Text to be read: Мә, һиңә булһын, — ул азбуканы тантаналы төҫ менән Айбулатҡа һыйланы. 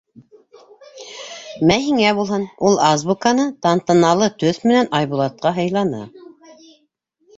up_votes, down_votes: 1, 2